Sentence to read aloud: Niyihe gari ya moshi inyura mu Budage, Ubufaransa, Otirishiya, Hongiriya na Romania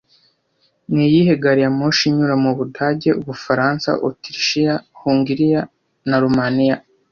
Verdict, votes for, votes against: accepted, 2, 0